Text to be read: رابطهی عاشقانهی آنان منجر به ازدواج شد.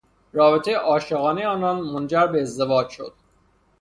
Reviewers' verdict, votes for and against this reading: accepted, 3, 0